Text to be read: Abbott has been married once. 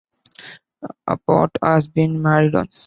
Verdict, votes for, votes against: rejected, 1, 2